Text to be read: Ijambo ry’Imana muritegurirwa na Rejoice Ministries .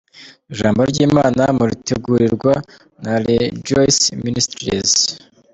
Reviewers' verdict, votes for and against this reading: accepted, 2, 0